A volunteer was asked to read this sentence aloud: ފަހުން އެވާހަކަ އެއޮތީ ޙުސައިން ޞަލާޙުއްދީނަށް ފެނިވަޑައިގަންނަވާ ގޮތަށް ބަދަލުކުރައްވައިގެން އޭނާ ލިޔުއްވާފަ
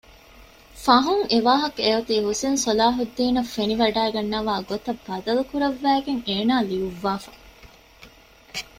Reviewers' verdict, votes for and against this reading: accepted, 2, 0